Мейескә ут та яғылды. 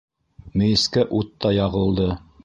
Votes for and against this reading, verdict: 1, 2, rejected